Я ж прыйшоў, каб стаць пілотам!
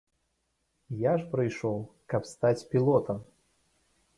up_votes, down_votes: 2, 0